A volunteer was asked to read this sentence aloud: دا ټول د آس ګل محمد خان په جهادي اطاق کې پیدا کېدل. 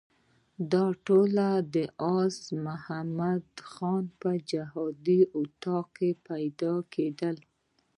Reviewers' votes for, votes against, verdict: 1, 2, rejected